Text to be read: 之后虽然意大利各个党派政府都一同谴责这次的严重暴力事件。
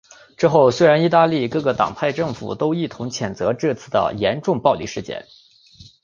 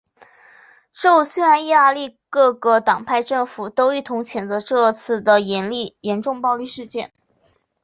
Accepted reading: first